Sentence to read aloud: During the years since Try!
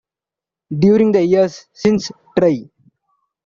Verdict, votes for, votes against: accepted, 2, 0